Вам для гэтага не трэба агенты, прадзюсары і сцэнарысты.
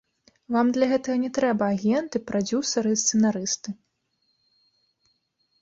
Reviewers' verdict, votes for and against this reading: rejected, 1, 2